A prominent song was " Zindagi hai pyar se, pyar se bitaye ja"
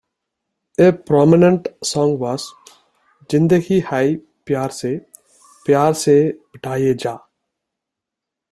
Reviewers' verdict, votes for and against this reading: accepted, 2, 1